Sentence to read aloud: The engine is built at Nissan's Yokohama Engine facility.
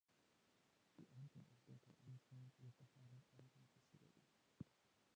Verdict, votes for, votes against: rejected, 0, 2